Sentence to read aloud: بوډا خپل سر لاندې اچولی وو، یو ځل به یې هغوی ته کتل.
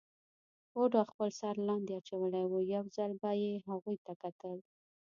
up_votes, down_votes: 2, 0